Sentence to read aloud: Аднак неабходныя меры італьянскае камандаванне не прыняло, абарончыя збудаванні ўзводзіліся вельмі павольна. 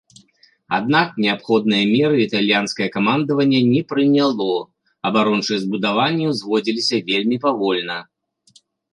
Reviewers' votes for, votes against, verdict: 2, 0, accepted